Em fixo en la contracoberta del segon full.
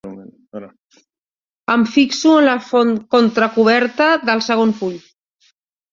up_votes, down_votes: 1, 3